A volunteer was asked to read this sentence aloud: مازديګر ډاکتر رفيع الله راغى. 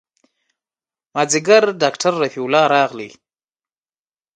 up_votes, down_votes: 2, 0